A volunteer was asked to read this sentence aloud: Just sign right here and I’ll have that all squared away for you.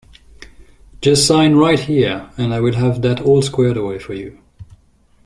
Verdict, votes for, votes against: rejected, 1, 2